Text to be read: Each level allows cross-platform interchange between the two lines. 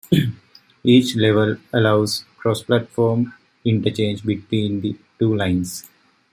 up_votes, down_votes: 2, 0